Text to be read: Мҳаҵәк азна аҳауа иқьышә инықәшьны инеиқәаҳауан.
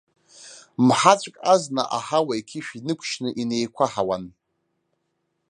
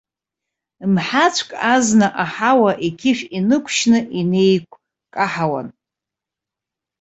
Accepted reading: first